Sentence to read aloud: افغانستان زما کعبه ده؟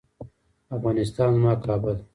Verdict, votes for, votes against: accepted, 2, 0